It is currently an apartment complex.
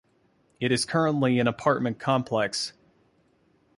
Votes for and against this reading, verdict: 2, 0, accepted